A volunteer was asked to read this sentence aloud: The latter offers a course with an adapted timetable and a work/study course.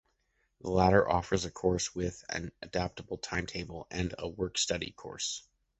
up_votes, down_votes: 1, 2